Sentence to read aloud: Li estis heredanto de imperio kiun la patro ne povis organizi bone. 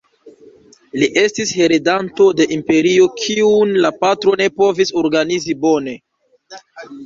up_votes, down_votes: 1, 2